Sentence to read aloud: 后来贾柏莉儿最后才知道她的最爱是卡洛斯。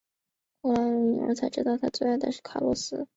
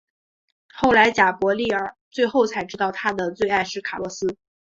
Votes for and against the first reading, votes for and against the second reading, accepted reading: 1, 5, 3, 0, second